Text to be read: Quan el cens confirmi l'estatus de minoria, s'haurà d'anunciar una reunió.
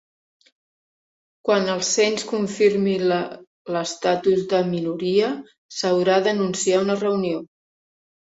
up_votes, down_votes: 1, 2